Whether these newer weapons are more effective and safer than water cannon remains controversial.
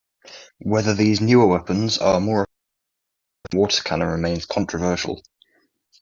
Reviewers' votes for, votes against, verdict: 0, 2, rejected